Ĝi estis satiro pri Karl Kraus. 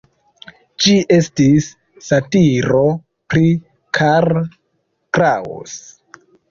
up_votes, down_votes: 2, 0